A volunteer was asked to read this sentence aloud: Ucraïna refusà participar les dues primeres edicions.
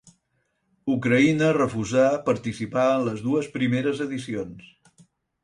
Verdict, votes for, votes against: accepted, 4, 0